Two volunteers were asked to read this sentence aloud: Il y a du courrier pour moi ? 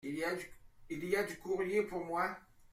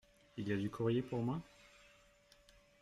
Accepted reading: second